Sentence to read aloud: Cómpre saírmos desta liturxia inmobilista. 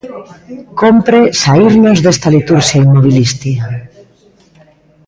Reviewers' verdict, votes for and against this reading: rejected, 0, 2